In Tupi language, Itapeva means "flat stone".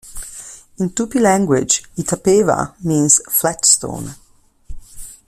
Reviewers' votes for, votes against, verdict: 2, 0, accepted